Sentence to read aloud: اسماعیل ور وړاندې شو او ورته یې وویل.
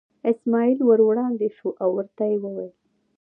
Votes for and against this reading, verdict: 2, 0, accepted